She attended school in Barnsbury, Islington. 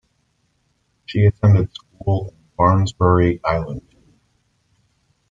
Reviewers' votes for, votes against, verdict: 1, 2, rejected